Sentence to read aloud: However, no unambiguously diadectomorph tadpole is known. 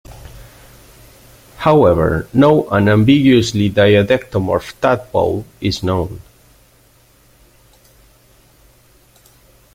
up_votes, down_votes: 1, 2